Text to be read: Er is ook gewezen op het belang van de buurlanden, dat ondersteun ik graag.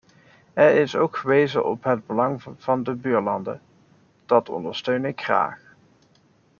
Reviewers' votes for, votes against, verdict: 2, 1, accepted